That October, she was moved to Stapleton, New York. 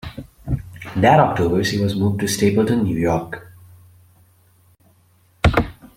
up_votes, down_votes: 2, 0